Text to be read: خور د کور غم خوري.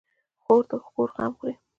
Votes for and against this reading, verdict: 2, 0, accepted